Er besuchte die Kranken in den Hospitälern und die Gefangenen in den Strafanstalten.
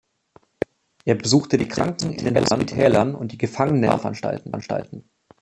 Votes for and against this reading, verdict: 0, 2, rejected